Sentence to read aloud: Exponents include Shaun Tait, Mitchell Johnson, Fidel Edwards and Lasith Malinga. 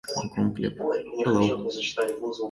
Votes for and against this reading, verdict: 0, 2, rejected